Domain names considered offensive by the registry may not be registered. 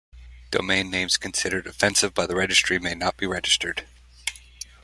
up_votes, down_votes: 2, 0